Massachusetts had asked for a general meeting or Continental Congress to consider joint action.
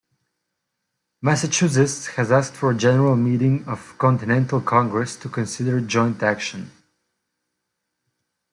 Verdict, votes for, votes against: rejected, 0, 2